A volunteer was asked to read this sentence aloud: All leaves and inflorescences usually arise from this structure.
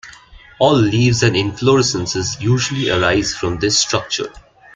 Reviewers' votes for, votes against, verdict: 2, 0, accepted